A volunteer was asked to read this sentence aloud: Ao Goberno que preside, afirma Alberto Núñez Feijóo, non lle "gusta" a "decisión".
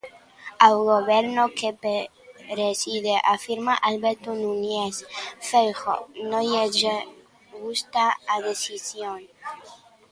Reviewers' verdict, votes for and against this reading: rejected, 0, 2